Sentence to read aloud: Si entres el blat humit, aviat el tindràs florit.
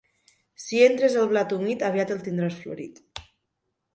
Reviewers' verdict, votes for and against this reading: accepted, 2, 0